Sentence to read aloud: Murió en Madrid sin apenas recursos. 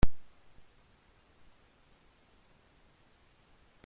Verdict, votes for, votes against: rejected, 0, 2